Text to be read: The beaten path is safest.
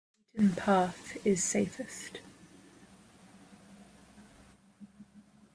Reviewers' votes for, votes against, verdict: 1, 2, rejected